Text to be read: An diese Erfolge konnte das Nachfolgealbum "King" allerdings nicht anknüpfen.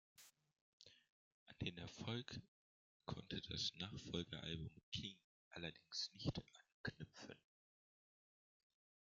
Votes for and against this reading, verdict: 1, 2, rejected